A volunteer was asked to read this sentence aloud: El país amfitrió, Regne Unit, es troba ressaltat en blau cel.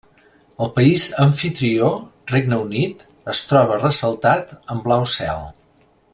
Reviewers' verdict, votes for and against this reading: accepted, 3, 0